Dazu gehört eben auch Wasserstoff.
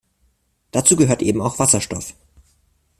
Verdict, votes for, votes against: accepted, 2, 0